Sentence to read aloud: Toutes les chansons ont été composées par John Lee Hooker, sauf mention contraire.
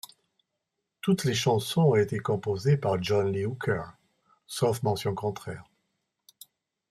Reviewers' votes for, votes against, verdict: 2, 0, accepted